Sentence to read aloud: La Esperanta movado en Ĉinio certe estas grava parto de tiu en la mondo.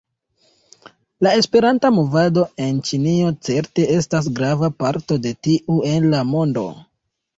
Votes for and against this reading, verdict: 2, 0, accepted